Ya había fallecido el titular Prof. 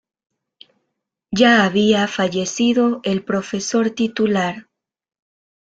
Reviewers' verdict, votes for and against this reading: rejected, 1, 2